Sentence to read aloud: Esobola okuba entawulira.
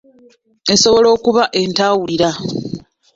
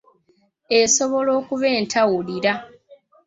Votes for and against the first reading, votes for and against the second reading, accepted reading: 0, 2, 2, 0, second